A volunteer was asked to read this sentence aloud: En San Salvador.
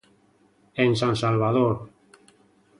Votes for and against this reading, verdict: 2, 0, accepted